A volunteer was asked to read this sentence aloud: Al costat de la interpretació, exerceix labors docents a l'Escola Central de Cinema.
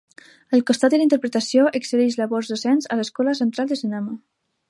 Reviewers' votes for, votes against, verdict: 1, 2, rejected